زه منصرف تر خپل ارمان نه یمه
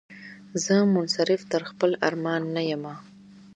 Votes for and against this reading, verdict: 2, 0, accepted